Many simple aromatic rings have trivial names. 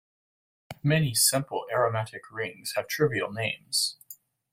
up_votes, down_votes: 1, 2